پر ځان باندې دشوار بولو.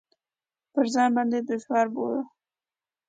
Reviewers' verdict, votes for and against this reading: accepted, 2, 0